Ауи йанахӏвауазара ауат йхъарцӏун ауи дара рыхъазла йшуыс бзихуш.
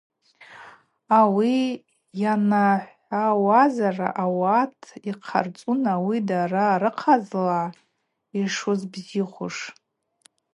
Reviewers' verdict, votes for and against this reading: accepted, 2, 0